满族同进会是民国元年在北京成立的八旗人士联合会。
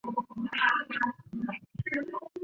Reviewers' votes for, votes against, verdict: 1, 4, rejected